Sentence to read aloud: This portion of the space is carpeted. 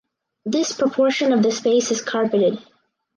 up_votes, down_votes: 0, 4